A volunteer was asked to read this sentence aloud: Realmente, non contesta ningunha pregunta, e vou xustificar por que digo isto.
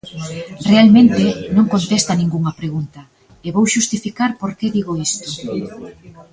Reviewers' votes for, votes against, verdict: 2, 1, accepted